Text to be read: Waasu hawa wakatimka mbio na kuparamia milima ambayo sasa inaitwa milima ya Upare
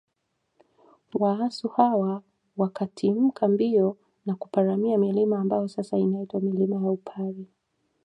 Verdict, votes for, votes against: accepted, 2, 0